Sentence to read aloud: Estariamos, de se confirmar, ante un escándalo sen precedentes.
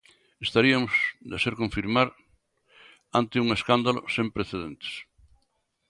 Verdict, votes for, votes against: rejected, 0, 2